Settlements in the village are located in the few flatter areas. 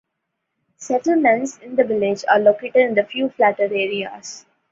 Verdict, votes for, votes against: accepted, 2, 0